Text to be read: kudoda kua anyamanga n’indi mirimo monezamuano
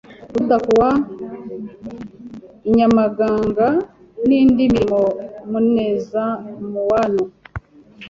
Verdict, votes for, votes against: rejected, 1, 2